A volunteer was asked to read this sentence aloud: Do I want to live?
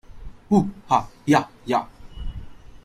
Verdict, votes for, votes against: rejected, 0, 2